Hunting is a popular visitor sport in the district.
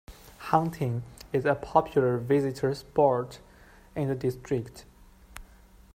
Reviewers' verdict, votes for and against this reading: accepted, 2, 0